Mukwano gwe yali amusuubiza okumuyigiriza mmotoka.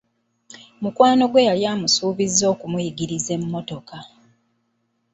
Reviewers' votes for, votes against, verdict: 0, 2, rejected